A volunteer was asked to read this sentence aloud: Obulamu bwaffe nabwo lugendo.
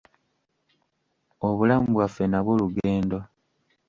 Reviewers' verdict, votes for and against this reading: accepted, 2, 0